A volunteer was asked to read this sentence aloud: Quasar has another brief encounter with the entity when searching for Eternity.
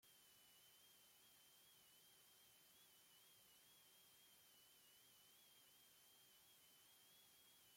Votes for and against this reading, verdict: 0, 2, rejected